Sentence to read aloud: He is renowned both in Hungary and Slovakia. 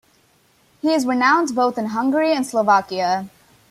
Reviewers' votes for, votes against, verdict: 0, 2, rejected